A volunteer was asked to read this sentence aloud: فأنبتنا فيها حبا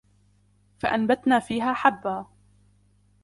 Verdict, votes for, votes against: accepted, 2, 1